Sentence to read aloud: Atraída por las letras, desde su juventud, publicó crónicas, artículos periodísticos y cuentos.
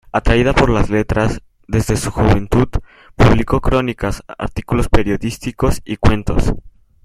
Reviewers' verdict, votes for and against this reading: accepted, 2, 0